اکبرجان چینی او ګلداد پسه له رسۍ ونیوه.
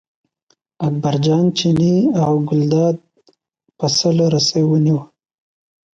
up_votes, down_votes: 0, 2